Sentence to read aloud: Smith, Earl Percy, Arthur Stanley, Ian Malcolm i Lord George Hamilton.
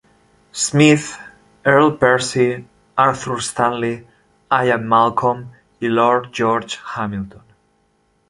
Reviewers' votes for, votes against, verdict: 0, 2, rejected